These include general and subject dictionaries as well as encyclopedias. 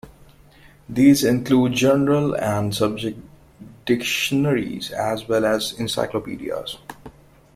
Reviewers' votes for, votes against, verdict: 2, 0, accepted